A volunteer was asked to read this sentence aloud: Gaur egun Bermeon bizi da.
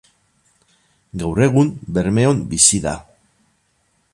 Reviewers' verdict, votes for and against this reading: rejected, 4, 12